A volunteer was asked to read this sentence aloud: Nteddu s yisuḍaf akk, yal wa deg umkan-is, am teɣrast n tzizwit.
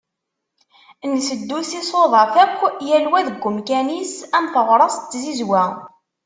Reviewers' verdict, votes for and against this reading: rejected, 0, 2